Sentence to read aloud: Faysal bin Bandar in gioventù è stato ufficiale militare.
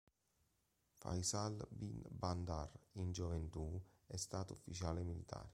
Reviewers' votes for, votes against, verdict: 0, 2, rejected